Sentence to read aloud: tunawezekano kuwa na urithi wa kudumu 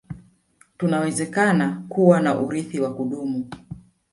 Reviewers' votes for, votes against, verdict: 1, 2, rejected